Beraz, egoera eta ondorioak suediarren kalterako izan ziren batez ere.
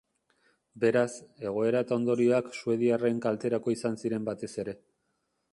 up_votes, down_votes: 2, 0